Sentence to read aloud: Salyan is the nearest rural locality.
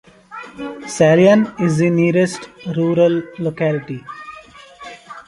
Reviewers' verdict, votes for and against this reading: accepted, 2, 1